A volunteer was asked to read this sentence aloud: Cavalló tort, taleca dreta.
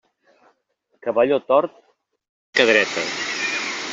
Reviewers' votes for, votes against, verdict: 0, 2, rejected